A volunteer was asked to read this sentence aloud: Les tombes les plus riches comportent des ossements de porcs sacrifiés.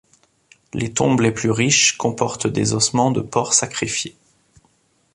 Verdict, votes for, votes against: accepted, 2, 0